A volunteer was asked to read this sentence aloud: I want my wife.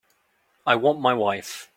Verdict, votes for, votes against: accepted, 2, 1